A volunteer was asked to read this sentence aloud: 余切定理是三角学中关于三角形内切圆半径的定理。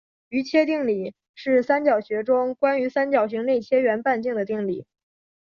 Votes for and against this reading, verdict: 0, 2, rejected